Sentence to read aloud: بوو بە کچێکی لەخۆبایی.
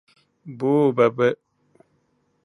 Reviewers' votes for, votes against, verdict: 0, 2, rejected